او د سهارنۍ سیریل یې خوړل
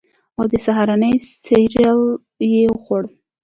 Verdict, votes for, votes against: accepted, 2, 0